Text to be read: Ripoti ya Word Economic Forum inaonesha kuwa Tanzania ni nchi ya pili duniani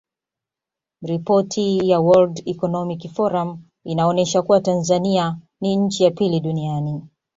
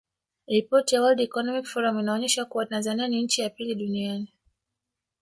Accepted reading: first